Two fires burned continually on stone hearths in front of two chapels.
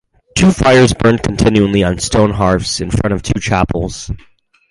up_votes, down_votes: 4, 0